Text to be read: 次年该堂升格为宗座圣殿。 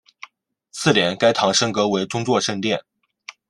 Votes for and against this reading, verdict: 2, 0, accepted